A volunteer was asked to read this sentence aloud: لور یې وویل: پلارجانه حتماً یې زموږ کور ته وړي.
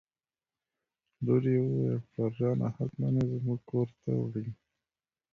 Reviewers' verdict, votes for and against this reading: rejected, 1, 2